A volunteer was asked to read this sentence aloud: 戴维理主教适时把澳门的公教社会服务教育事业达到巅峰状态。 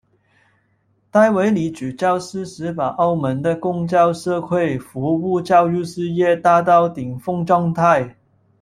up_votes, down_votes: 1, 2